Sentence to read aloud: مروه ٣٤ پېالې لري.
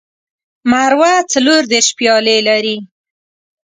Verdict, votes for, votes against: rejected, 0, 2